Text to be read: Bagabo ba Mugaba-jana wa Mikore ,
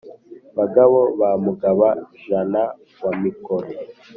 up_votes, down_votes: 3, 0